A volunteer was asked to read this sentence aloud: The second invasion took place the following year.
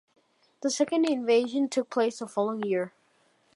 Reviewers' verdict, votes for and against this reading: accepted, 2, 0